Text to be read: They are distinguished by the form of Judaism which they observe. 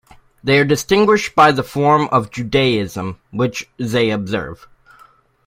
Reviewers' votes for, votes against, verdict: 2, 0, accepted